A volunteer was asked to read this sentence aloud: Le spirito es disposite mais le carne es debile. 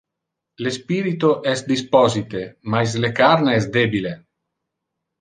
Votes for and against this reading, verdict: 2, 0, accepted